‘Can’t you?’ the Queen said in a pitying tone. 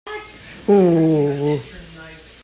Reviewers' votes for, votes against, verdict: 0, 2, rejected